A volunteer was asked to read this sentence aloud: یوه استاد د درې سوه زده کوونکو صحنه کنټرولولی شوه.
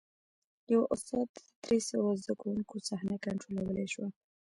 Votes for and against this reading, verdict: 1, 2, rejected